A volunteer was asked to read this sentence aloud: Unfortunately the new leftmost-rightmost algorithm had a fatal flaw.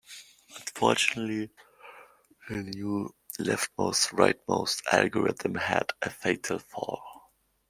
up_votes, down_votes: 0, 2